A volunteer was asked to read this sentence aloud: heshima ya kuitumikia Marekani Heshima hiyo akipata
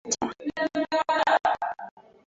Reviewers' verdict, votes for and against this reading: rejected, 0, 3